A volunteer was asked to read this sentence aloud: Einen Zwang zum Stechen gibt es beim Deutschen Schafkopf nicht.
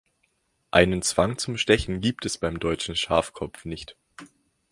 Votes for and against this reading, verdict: 2, 0, accepted